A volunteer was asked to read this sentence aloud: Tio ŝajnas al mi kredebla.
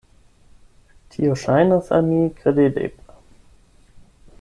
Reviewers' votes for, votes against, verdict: 0, 8, rejected